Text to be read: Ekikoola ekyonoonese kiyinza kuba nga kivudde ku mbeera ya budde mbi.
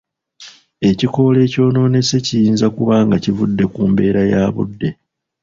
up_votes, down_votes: 1, 2